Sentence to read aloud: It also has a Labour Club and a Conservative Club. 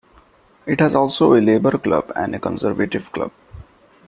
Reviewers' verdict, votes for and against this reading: rejected, 1, 2